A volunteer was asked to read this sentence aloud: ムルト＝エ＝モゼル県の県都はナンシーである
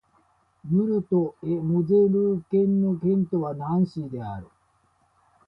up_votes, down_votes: 0, 2